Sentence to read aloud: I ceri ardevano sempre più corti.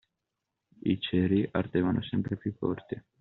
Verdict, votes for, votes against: accepted, 2, 1